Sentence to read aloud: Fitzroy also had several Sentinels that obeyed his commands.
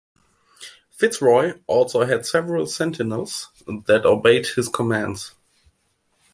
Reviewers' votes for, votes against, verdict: 2, 0, accepted